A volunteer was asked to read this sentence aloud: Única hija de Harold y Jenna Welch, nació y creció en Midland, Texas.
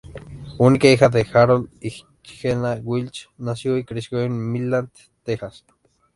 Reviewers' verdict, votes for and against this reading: rejected, 0, 2